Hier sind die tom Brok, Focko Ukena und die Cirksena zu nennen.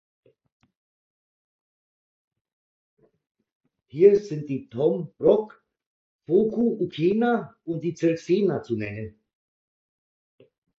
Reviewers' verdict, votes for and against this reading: accepted, 2, 0